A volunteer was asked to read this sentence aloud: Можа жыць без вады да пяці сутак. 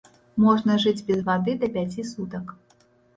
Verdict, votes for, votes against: rejected, 1, 2